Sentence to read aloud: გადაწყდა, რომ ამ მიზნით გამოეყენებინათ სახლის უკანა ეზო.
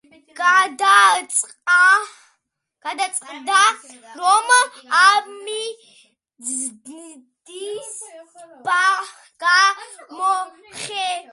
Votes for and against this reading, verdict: 0, 2, rejected